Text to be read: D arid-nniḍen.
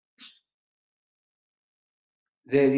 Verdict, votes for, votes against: rejected, 1, 2